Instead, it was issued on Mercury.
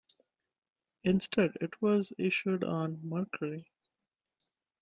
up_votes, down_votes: 2, 1